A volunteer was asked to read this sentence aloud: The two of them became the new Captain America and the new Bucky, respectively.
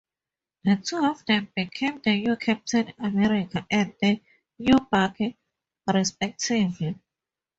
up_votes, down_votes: 2, 0